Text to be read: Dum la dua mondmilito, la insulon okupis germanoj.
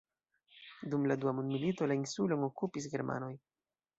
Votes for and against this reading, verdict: 2, 1, accepted